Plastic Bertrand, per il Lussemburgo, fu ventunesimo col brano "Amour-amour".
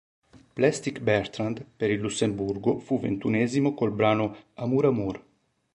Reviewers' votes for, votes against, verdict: 2, 0, accepted